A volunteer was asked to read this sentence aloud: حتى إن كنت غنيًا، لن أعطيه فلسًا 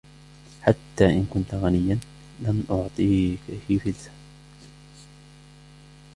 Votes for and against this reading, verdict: 0, 2, rejected